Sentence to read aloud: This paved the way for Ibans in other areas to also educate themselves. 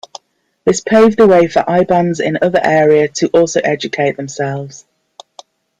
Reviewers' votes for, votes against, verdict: 2, 1, accepted